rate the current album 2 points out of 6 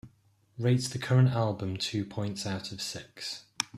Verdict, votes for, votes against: rejected, 0, 2